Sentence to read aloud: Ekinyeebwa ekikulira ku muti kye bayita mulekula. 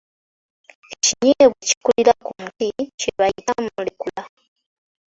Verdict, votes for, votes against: rejected, 0, 2